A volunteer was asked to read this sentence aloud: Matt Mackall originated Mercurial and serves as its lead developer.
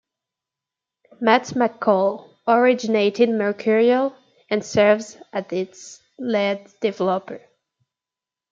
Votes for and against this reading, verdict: 0, 2, rejected